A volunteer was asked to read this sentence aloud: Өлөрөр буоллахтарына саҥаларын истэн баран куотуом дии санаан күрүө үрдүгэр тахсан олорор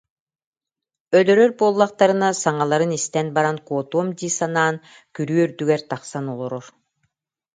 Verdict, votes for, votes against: accepted, 2, 0